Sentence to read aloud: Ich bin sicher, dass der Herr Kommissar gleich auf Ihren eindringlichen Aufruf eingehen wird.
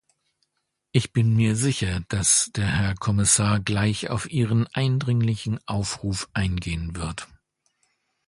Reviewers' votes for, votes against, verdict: 0, 2, rejected